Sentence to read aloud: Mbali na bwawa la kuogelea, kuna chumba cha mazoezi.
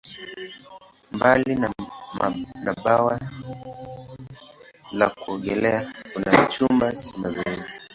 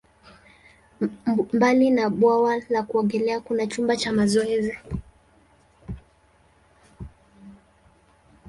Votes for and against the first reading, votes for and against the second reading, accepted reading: 0, 2, 2, 0, second